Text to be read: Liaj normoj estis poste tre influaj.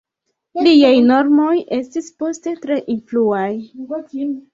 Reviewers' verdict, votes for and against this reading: rejected, 1, 2